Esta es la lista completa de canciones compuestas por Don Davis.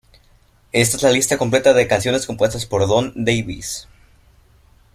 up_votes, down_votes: 2, 0